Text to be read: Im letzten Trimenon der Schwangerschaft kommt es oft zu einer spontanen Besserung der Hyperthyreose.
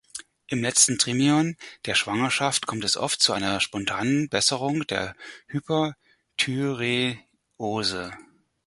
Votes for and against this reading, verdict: 2, 4, rejected